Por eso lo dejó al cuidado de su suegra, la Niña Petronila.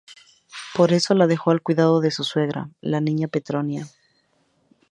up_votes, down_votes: 0, 2